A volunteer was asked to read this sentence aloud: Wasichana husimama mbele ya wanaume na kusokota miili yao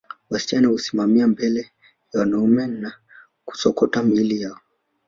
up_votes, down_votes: 3, 0